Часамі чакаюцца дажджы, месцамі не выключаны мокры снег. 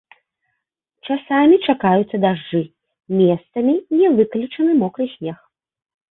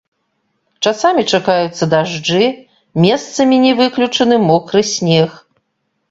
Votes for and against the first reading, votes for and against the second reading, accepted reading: 3, 0, 0, 2, first